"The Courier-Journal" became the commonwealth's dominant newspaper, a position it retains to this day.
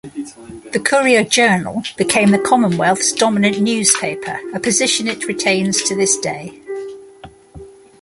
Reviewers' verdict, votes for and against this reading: accepted, 2, 0